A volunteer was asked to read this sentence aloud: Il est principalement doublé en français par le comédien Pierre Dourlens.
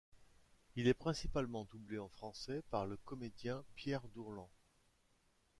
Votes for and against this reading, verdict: 0, 2, rejected